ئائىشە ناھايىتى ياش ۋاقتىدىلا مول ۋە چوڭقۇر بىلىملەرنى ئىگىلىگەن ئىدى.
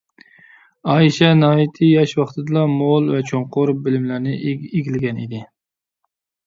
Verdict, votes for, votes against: rejected, 1, 2